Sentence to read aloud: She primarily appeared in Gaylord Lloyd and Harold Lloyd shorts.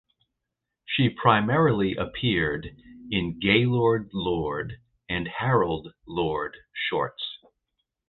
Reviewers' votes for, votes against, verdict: 0, 2, rejected